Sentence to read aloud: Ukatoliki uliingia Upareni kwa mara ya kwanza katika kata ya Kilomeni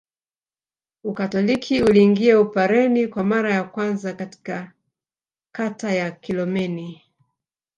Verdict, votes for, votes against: accepted, 2, 0